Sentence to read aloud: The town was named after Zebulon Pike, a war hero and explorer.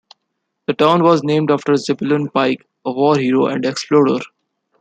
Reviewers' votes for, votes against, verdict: 2, 0, accepted